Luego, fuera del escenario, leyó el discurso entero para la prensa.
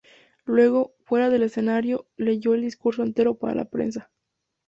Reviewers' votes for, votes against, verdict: 2, 0, accepted